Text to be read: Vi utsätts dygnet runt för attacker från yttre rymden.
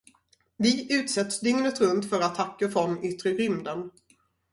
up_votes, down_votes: 4, 0